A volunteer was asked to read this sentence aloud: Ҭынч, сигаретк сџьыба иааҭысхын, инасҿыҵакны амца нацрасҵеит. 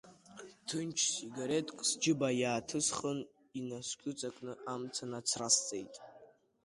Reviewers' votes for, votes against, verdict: 2, 0, accepted